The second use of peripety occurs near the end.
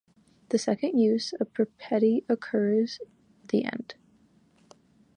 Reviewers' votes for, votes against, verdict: 2, 1, accepted